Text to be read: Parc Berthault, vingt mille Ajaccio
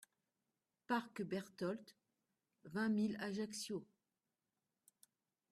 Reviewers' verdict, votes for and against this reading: rejected, 0, 2